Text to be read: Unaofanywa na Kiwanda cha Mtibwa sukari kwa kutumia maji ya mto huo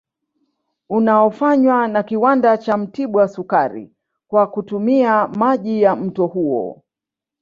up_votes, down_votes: 2, 0